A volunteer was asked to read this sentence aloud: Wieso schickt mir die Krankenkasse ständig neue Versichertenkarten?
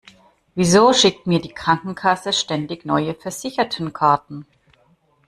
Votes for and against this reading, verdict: 0, 2, rejected